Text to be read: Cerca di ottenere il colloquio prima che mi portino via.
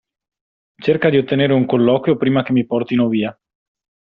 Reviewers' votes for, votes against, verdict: 1, 2, rejected